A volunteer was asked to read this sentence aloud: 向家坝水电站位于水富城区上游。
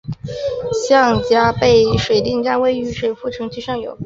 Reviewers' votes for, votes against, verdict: 1, 2, rejected